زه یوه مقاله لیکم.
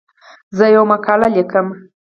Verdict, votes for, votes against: rejected, 2, 4